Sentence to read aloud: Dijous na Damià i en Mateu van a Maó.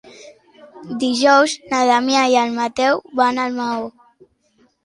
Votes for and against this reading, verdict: 0, 2, rejected